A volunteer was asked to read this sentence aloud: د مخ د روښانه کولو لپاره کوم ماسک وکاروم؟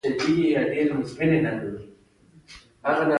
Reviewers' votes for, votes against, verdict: 2, 1, accepted